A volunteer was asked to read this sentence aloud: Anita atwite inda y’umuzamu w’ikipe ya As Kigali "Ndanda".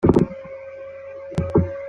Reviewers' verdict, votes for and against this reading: rejected, 0, 2